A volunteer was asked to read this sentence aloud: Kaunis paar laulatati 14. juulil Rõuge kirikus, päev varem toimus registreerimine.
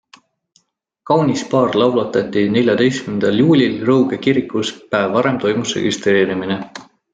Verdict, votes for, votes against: rejected, 0, 2